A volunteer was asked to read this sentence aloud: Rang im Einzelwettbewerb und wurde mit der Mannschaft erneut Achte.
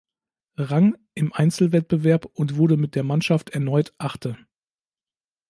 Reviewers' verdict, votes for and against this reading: accepted, 3, 0